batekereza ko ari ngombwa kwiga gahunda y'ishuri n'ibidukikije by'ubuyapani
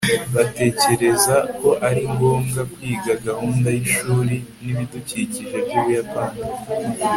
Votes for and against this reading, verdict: 2, 0, accepted